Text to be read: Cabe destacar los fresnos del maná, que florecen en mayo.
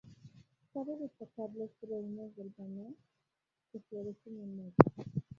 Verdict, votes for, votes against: rejected, 0, 2